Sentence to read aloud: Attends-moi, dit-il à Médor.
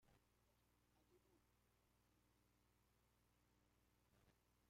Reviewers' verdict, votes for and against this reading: rejected, 0, 2